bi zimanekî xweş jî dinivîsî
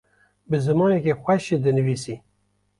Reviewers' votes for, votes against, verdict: 2, 0, accepted